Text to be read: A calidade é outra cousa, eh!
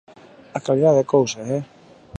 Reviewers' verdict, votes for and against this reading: rejected, 1, 2